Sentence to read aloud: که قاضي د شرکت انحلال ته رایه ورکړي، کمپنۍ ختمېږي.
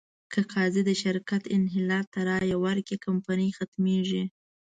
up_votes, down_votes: 1, 2